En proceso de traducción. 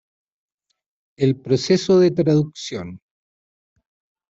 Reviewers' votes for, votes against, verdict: 1, 2, rejected